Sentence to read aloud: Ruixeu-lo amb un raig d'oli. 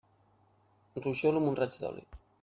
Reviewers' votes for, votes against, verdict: 2, 0, accepted